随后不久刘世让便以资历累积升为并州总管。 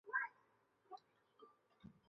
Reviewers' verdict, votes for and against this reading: accepted, 3, 2